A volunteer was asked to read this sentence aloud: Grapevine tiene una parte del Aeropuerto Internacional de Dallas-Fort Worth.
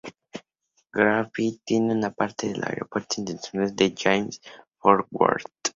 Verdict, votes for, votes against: rejected, 0, 4